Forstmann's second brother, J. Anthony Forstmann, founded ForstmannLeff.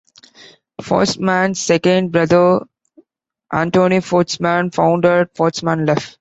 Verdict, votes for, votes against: rejected, 0, 2